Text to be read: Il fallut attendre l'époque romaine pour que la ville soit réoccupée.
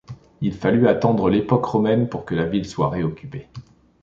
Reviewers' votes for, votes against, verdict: 2, 0, accepted